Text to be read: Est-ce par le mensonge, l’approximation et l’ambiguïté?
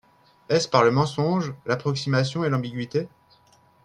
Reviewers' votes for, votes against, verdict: 3, 0, accepted